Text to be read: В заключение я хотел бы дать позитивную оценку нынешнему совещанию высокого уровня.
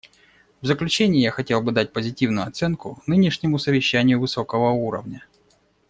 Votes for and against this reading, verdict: 2, 0, accepted